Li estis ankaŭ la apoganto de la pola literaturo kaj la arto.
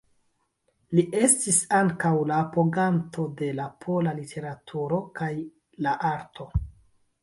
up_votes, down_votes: 1, 2